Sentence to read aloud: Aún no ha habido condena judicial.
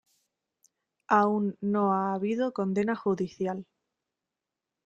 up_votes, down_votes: 2, 0